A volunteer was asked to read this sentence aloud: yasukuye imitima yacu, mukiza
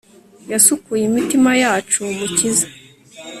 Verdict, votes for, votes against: accepted, 2, 0